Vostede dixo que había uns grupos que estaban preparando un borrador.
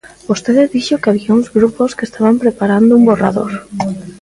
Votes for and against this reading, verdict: 2, 0, accepted